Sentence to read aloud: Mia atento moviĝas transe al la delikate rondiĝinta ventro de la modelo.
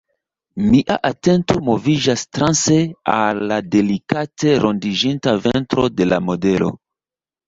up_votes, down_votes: 2, 0